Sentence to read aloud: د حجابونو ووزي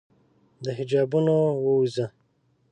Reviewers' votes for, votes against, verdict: 1, 2, rejected